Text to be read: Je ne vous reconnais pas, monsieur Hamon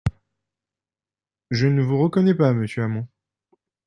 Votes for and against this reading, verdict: 2, 0, accepted